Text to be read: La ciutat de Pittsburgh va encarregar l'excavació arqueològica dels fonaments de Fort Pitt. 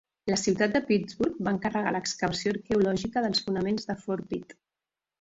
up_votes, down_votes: 2, 0